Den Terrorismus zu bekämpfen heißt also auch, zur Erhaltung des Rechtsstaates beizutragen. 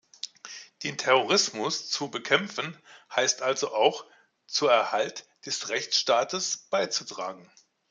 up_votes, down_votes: 1, 2